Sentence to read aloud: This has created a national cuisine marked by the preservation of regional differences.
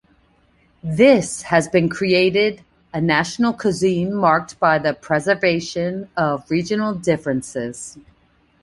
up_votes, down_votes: 0, 2